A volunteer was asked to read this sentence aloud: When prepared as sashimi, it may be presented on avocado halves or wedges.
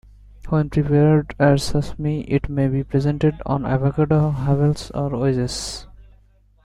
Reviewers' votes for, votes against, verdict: 1, 2, rejected